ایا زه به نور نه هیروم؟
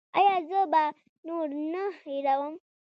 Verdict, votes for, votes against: rejected, 0, 2